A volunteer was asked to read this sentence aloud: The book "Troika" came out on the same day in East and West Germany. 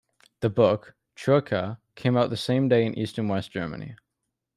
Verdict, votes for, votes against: rejected, 1, 2